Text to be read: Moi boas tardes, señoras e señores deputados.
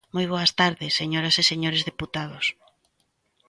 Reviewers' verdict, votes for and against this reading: accepted, 2, 0